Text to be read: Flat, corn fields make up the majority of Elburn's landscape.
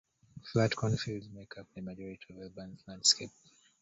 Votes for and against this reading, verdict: 0, 2, rejected